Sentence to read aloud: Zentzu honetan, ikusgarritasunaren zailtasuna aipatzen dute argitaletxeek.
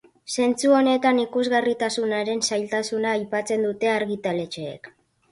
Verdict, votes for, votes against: accepted, 3, 0